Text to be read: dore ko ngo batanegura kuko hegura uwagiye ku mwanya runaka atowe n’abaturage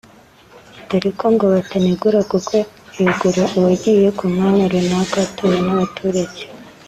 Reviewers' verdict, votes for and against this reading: accepted, 2, 1